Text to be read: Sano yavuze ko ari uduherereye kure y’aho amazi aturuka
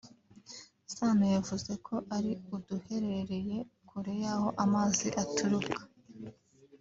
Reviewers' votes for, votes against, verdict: 2, 0, accepted